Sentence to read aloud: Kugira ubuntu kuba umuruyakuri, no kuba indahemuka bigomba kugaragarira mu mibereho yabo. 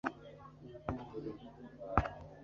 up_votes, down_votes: 1, 2